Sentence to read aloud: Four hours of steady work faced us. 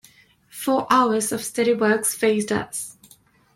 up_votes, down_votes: 0, 2